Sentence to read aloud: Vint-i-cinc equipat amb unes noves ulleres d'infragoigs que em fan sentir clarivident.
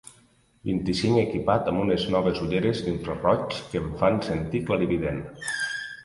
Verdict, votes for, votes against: rejected, 0, 2